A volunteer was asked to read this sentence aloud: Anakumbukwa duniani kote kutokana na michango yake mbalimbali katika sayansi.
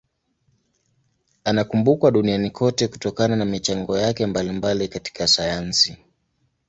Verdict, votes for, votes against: accepted, 2, 0